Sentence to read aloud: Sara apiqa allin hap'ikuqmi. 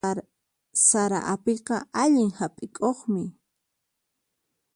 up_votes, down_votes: 0, 4